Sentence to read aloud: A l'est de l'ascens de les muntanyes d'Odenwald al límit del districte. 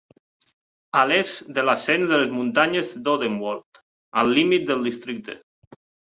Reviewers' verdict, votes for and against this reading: accepted, 2, 0